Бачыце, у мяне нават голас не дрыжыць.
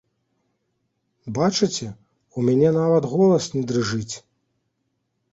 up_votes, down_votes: 2, 0